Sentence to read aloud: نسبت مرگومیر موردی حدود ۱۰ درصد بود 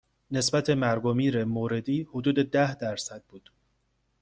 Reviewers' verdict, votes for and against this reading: rejected, 0, 2